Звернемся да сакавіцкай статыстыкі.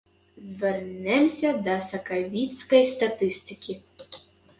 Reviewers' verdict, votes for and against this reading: rejected, 0, 2